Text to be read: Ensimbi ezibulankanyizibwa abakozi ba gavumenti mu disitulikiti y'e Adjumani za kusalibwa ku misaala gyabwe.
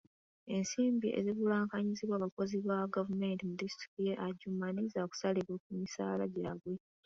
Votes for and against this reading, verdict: 2, 0, accepted